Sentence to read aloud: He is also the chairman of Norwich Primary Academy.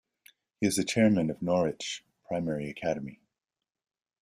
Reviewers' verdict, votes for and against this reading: rejected, 0, 2